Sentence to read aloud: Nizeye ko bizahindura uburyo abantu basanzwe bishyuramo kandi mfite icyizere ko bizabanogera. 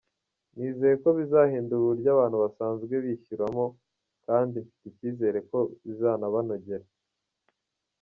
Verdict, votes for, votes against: accepted, 2, 0